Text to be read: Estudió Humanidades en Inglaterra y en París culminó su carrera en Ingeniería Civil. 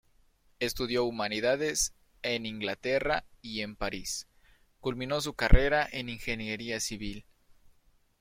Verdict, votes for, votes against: rejected, 0, 2